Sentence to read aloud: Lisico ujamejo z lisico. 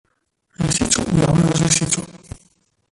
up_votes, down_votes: 0, 2